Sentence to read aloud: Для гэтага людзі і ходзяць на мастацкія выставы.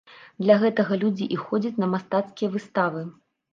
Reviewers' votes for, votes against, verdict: 2, 0, accepted